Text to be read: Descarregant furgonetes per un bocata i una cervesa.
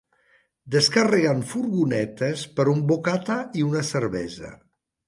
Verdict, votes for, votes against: accepted, 2, 0